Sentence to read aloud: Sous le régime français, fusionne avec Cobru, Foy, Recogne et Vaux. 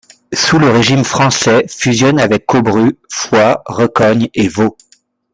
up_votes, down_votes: 2, 1